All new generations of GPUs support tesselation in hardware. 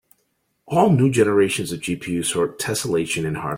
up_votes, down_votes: 1, 2